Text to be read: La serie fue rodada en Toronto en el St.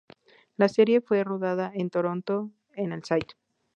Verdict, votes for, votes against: rejected, 2, 2